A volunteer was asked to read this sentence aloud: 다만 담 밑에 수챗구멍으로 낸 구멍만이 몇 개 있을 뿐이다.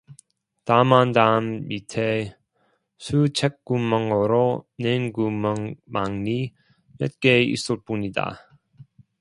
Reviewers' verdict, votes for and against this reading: rejected, 0, 2